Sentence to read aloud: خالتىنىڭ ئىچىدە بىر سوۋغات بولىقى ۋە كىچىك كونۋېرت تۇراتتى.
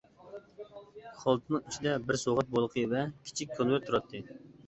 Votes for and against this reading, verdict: 2, 0, accepted